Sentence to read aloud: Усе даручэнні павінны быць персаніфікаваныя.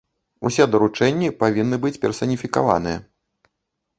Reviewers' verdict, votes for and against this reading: accepted, 2, 0